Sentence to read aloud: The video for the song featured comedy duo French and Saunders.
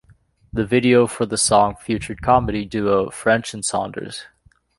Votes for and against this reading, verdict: 2, 0, accepted